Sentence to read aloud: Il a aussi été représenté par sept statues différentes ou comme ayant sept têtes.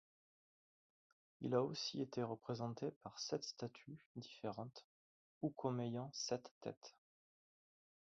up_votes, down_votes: 2, 4